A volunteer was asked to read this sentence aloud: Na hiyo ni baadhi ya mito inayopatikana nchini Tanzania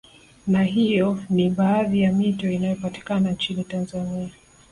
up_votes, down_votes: 2, 1